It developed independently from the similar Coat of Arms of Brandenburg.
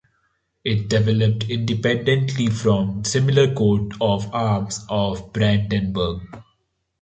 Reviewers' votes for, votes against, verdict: 0, 2, rejected